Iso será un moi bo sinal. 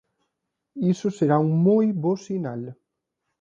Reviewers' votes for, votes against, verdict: 30, 1, accepted